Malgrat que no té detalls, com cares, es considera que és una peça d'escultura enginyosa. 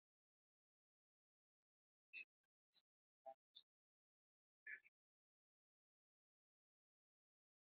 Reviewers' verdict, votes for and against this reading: rejected, 0, 2